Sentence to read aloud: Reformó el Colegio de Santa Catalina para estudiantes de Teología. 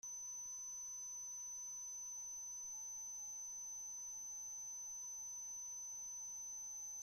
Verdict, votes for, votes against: rejected, 0, 2